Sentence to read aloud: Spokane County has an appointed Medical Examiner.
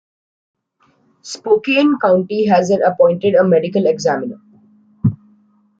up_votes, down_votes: 0, 2